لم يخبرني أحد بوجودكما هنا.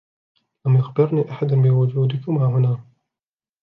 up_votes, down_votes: 3, 1